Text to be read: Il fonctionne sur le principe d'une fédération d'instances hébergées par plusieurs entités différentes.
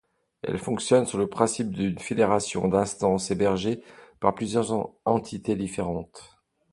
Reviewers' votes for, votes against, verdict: 2, 1, accepted